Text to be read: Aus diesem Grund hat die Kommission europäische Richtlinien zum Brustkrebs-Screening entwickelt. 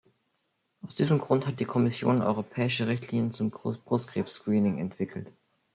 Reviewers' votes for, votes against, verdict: 0, 2, rejected